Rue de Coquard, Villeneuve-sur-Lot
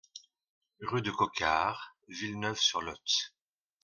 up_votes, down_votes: 2, 0